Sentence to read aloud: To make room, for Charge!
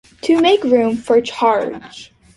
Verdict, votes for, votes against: accepted, 2, 0